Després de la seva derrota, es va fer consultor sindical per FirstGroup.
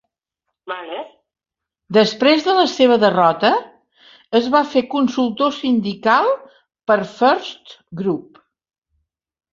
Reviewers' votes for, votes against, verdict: 1, 3, rejected